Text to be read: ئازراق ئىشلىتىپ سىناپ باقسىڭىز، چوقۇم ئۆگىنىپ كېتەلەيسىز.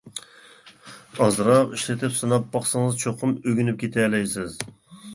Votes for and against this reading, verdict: 2, 0, accepted